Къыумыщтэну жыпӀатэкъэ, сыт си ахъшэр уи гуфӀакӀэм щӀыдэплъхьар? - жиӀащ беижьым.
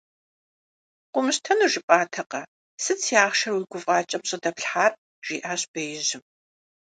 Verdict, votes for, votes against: accepted, 2, 0